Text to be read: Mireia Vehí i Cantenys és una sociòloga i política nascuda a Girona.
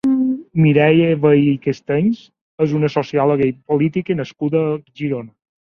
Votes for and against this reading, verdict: 3, 0, accepted